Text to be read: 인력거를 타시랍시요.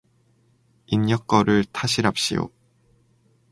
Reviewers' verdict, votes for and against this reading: accepted, 4, 0